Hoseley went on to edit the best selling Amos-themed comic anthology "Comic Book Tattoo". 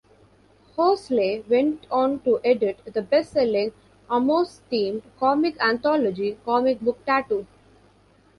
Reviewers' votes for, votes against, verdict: 2, 0, accepted